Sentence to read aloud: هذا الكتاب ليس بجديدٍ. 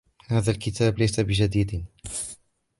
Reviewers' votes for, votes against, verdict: 2, 1, accepted